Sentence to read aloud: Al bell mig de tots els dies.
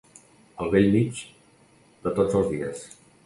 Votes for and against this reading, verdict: 3, 0, accepted